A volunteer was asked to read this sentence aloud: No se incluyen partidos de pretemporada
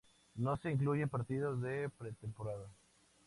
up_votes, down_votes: 2, 0